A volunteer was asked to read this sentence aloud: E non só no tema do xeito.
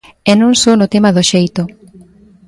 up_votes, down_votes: 2, 0